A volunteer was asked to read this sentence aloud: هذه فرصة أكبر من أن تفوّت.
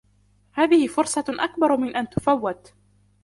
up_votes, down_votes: 2, 1